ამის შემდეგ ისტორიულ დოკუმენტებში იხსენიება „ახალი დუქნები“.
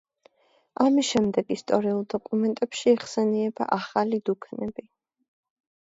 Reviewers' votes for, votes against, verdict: 2, 0, accepted